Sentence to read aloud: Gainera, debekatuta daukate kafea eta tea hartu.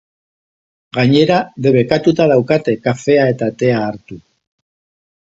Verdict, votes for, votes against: rejected, 0, 2